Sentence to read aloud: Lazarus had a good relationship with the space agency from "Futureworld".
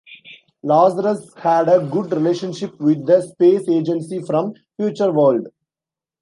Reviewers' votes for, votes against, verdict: 2, 0, accepted